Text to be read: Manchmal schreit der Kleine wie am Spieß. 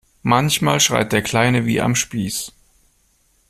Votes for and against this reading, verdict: 2, 0, accepted